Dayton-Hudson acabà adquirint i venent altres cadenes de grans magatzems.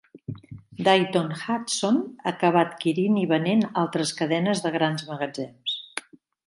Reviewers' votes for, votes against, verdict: 2, 0, accepted